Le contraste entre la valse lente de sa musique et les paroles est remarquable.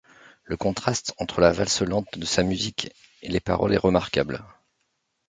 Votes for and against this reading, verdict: 2, 0, accepted